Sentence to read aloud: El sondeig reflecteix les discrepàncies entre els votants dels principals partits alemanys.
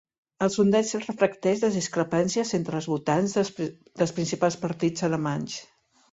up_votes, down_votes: 1, 2